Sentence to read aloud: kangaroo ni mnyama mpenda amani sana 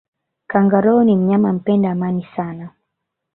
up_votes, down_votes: 1, 2